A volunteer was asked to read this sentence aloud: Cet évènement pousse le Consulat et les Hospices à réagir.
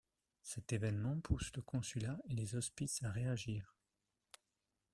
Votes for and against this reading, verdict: 2, 0, accepted